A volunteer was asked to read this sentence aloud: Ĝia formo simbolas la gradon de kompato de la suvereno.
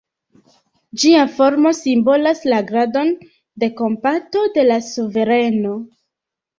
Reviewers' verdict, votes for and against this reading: accepted, 2, 0